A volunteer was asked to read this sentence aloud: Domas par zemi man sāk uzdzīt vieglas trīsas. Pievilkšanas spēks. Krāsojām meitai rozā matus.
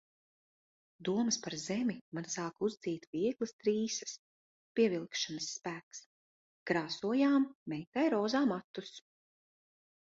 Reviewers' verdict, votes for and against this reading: accepted, 2, 0